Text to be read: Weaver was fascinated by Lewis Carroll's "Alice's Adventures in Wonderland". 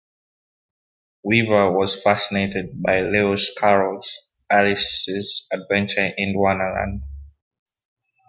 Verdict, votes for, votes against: accepted, 2, 1